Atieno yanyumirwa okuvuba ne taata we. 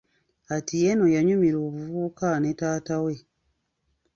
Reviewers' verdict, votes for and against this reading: rejected, 1, 2